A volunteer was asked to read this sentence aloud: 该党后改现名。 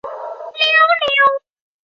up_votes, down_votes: 1, 2